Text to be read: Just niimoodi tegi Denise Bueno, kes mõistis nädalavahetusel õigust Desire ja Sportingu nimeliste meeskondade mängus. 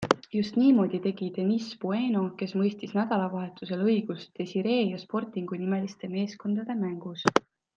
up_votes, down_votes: 2, 1